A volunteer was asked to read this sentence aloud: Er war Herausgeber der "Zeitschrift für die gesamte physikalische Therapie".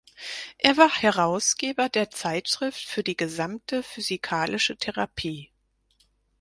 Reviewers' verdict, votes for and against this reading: accepted, 4, 2